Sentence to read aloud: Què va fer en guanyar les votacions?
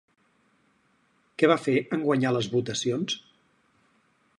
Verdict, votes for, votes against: accepted, 4, 0